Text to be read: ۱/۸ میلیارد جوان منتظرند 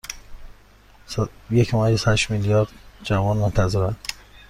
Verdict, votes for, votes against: rejected, 0, 2